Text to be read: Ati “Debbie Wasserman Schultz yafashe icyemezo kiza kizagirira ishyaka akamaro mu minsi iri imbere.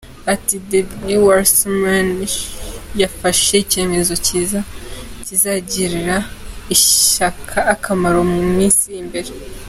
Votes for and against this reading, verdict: 2, 0, accepted